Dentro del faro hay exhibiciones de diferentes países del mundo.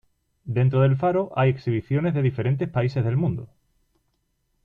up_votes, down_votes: 2, 0